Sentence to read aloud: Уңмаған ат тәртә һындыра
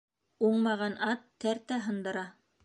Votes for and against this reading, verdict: 2, 0, accepted